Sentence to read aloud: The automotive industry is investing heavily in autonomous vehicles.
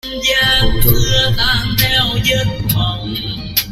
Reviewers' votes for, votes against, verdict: 0, 2, rejected